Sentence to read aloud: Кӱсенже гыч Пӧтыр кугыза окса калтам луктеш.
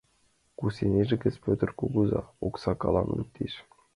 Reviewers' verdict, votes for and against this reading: rejected, 0, 2